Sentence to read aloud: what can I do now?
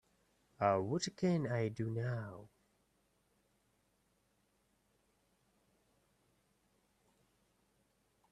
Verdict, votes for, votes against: rejected, 0, 2